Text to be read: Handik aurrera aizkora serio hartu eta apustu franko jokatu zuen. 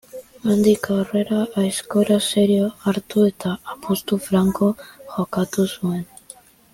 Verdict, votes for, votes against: accepted, 2, 1